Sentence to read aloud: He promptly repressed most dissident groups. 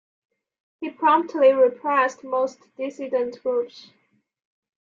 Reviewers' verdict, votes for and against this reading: accepted, 2, 1